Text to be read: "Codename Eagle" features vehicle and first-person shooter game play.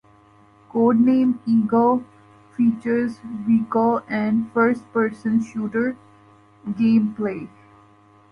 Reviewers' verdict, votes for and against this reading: accepted, 2, 0